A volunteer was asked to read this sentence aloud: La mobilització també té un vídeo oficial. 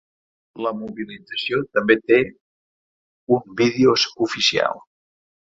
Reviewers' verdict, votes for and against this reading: rejected, 0, 2